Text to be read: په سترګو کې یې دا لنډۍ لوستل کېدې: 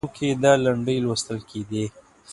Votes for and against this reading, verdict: 1, 2, rejected